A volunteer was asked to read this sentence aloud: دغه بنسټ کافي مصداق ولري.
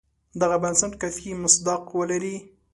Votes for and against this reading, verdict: 2, 0, accepted